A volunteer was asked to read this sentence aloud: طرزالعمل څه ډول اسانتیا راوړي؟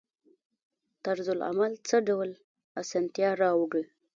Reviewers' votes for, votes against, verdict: 1, 2, rejected